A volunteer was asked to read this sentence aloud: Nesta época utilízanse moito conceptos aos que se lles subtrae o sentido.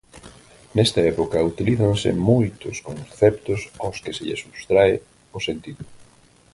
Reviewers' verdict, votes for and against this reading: rejected, 0, 4